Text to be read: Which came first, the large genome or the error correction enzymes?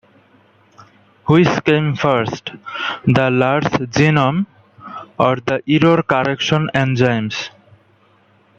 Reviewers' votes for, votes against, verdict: 1, 2, rejected